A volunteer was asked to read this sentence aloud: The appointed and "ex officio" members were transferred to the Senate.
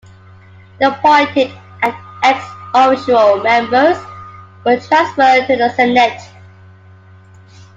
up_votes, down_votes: 0, 2